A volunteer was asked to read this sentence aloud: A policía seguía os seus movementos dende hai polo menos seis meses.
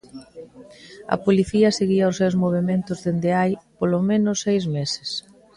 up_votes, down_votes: 2, 0